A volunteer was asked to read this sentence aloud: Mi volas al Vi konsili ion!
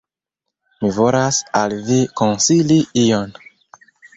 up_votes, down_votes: 0, 2